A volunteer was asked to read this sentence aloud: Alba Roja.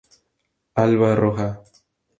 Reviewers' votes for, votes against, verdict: 4, 0, accepted